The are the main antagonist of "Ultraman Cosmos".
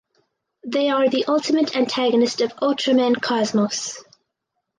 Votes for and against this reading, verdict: 2, 4, rejected